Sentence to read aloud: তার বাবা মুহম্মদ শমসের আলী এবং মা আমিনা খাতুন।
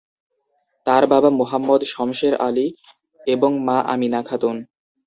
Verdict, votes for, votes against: accepted, 2, 0